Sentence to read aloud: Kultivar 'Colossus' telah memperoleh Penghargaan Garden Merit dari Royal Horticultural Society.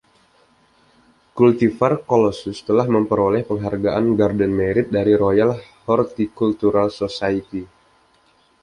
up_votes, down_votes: 2, 0